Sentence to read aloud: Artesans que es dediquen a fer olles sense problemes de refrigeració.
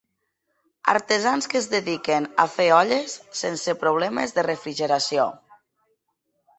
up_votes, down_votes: 4, 1